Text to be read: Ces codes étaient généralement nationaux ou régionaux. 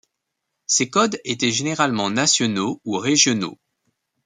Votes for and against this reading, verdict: 2, 0, accepted